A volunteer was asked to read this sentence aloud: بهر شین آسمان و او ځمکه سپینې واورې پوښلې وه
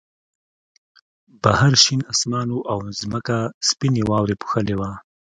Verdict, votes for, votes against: accepted, 2, 0